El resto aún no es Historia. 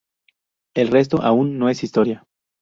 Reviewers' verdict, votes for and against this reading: accepted, 2, 0